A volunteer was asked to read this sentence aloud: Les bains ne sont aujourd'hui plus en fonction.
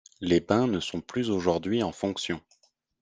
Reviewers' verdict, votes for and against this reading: rejected, 1, 2